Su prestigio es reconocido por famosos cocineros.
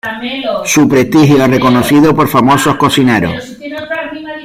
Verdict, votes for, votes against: accepted, 2, 1